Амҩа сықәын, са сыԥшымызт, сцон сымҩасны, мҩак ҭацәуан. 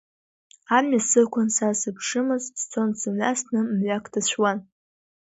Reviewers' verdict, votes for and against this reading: accepted, 2, 0